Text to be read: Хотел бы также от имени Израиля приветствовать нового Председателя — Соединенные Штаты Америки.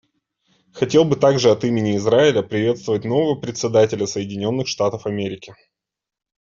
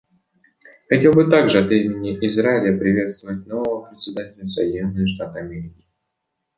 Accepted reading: second